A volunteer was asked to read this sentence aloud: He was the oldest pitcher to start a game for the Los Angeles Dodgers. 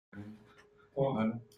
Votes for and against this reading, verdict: 0, 2, rejected